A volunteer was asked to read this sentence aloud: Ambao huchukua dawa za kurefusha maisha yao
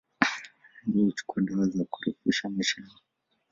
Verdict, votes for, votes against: accepted, 2, 1